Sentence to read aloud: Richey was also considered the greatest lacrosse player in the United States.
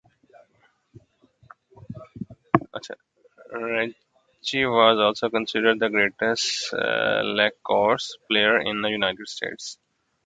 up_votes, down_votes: 0, 2